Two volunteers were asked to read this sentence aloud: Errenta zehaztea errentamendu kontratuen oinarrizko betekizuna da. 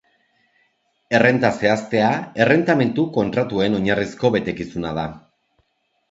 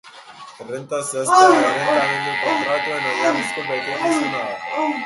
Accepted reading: first